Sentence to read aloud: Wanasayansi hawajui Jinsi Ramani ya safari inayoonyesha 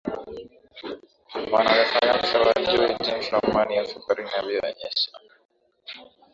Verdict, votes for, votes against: rejected, 0, 2